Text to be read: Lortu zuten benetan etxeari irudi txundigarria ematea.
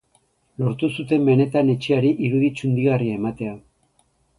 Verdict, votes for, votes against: accepted, 2, 0